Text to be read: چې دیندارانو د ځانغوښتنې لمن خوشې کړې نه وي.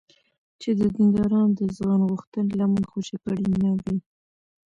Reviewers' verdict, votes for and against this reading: accepted, 2, 0